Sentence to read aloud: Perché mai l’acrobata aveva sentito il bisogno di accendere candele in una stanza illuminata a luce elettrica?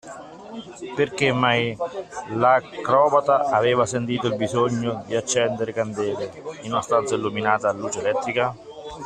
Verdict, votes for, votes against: rejected, 0, 2